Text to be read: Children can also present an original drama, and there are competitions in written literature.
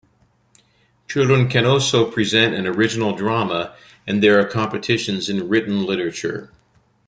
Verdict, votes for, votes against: rejected, 1, 2